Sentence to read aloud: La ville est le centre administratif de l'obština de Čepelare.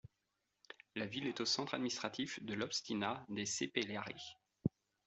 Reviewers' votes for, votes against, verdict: 0, 2, rejected